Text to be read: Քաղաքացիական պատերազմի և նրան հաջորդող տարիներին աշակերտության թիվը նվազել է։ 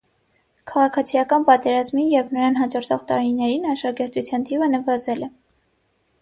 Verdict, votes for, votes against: accepted, 6, 0